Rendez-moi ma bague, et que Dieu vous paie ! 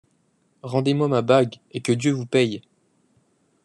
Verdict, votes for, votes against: accepted, 2, 0